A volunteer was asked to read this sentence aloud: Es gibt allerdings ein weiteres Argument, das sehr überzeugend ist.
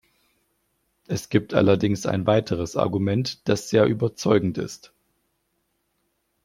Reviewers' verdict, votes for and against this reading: accepted, 2, 0